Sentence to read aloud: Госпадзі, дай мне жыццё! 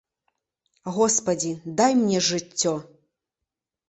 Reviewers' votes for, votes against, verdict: 2, 0, accepted